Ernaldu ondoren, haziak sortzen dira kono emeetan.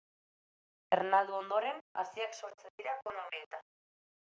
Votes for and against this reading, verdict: 0, 2, rejected